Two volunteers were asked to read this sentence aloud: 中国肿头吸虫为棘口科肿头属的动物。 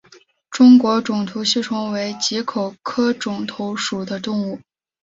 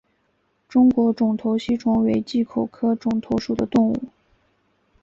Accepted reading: first